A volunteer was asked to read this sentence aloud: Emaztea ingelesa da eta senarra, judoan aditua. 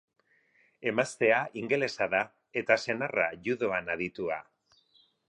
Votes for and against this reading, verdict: 4, 0, accepted